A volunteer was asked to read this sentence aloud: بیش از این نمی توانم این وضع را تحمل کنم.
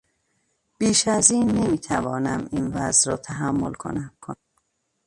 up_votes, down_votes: 0, 2